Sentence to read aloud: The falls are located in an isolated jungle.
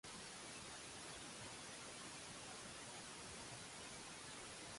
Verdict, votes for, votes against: rejected, 0, 2